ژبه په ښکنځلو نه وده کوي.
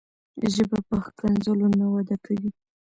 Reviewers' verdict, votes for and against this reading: accepted, 2, 0